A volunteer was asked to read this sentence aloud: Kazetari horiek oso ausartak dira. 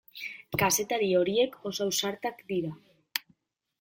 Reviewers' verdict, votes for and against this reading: accepted, 2, 0